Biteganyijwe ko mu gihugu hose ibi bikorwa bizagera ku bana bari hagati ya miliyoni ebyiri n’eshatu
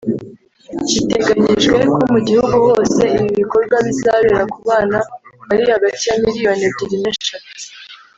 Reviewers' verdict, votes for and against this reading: rejected, 0, 2